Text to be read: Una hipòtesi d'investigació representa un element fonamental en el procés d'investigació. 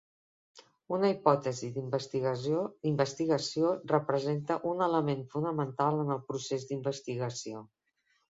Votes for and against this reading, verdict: 0, 2, rejected